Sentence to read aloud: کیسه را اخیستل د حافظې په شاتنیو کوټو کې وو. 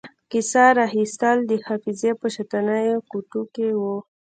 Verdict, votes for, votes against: accepted, 2, 0